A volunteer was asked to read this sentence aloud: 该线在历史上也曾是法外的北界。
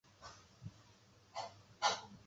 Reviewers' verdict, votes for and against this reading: rejected, 1, 2